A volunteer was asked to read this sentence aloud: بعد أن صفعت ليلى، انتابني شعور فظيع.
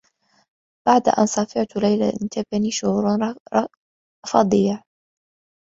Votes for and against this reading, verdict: 0, 2, rejected